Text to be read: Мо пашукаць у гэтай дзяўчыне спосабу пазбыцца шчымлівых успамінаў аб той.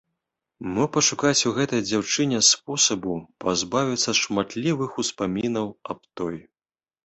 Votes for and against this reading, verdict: 1, 2, rejected